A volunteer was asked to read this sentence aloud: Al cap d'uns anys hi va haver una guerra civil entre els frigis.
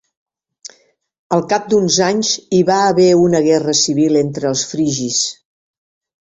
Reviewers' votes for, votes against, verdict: 4, 0, accepted